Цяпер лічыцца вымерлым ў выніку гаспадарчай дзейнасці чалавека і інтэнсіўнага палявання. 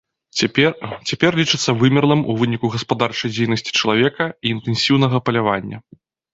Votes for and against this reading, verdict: 0, 2, rejected